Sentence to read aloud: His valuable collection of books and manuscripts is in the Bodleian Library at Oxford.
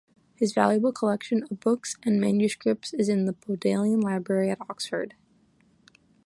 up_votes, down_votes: 2, 1